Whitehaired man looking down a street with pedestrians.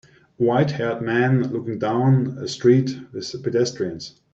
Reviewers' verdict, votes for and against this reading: rejected, 1, 2